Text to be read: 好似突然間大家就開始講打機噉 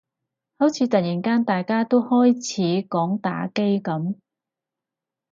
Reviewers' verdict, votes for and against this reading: rejected, 0, 4